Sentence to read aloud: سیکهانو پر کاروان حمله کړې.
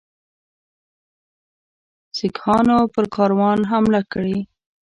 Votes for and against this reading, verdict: 0, 2, rejected